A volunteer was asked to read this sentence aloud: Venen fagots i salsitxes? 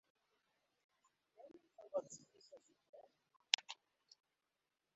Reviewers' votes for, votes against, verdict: 0, 3, rejected